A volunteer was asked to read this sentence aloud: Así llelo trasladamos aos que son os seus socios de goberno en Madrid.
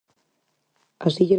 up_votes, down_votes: 0, 4